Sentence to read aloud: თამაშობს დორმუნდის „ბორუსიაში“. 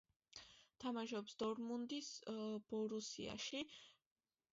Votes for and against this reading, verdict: 2, 0, accepted